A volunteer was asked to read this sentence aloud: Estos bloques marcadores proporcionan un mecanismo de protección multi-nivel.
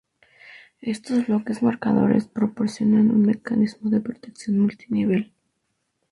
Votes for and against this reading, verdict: 2, 0, accepted